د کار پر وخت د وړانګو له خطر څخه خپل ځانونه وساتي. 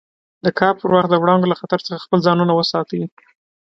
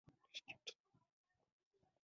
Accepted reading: first